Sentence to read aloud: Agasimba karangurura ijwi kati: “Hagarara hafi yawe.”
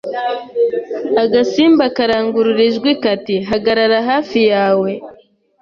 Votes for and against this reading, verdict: 2, 0, accepted